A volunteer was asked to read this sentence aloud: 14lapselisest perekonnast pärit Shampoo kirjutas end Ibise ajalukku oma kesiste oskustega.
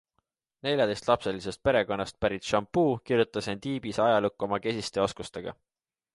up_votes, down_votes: 0, 2